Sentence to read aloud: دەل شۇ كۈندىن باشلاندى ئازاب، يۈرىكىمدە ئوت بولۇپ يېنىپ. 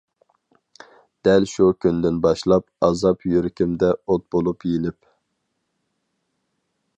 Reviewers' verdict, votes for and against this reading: rejected, 0, 4